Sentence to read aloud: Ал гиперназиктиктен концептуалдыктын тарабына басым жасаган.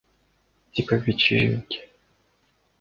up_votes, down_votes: 0, 2